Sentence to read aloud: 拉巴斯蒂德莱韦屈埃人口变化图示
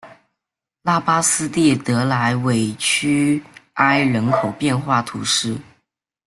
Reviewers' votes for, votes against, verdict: 2, 1, accepted